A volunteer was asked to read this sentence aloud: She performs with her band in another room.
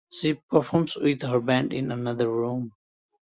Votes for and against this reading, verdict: 2, 0, accepted